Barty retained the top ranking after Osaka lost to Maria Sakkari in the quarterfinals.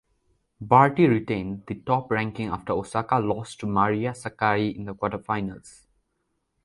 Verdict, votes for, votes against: accepted, 2, 0